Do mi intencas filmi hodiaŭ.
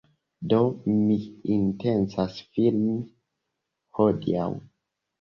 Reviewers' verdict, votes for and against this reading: accepted, 2, 0